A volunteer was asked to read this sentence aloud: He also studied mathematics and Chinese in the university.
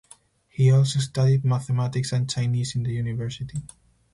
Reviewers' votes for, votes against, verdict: 4, 0, accepted